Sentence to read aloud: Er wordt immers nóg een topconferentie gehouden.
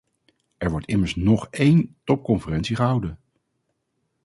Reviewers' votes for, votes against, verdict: 0, 2, rejected